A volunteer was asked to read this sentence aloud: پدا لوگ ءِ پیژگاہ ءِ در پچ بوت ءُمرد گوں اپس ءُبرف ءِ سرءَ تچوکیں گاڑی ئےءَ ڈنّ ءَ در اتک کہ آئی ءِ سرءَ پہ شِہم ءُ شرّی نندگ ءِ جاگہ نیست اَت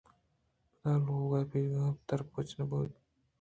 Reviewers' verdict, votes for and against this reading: rejected, 0, 3